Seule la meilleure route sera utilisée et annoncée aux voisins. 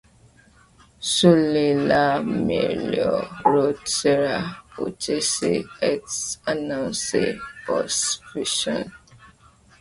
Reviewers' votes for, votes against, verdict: 0, 2, rejected